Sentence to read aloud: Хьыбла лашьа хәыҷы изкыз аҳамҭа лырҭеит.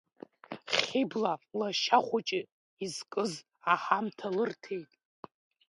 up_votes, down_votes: 2, 0